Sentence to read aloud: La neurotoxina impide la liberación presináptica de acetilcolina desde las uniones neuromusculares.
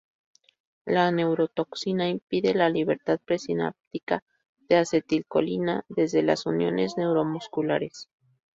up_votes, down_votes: 0, 2